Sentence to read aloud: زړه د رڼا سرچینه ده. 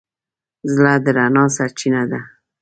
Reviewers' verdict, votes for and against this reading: rejected, 1, 2